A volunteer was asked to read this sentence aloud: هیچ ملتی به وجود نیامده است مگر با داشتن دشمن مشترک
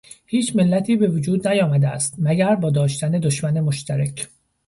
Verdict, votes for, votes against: accepted, 2, 0